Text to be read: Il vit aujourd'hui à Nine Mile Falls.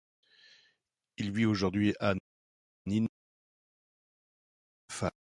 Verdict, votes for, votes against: rejected, 0, 2